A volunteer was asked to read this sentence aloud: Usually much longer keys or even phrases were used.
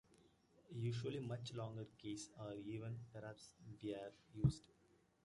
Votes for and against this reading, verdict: 0, 2, rejected